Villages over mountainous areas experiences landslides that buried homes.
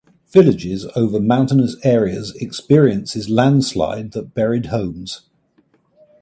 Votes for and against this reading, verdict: 2, 0, accepted